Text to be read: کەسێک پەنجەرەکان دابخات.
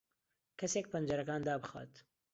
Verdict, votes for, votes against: accepted, 2, 0